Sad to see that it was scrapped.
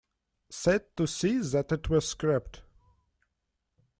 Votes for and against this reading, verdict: 2, 1, accepted